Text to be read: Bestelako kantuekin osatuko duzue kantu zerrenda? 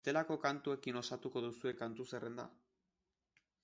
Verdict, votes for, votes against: rejected, 1, 2